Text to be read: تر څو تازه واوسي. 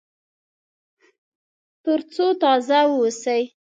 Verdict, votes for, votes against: accepted, 2, 0